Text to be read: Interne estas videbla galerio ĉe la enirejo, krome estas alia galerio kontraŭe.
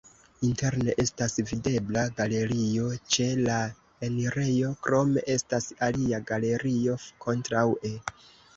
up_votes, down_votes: 0, 2